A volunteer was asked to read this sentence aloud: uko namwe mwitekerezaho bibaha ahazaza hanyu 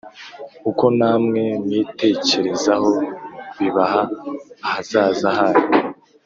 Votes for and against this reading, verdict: 3, 0, accepted